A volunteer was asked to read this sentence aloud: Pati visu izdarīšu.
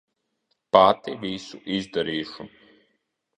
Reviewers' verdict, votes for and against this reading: rejected, 1, 2